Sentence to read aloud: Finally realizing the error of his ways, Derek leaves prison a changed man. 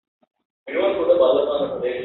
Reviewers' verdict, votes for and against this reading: rejected, 0, 2